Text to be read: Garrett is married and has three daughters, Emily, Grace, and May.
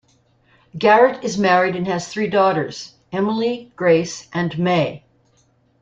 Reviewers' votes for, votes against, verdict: 2, 0, accepted